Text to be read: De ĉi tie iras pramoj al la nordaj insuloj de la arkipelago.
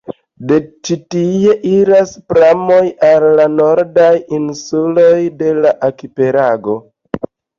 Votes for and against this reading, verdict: 2, 0, accepted